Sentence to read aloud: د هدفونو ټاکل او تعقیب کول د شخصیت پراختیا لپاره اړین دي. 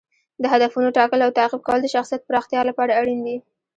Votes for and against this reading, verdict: 1, 2, rejected